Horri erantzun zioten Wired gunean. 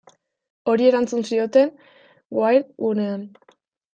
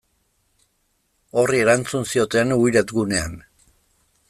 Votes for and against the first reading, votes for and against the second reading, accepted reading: 0, 2, 2, 0, second